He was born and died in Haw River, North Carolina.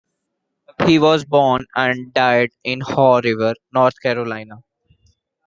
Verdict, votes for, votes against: accepted, 2, 0